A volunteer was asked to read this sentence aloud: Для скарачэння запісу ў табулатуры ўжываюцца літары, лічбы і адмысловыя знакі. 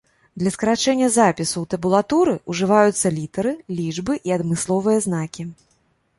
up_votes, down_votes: 2, 0